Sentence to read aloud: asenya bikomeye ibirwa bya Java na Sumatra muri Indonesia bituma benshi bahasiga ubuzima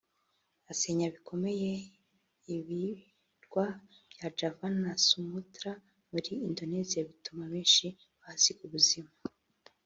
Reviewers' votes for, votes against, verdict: 1, 2, rejected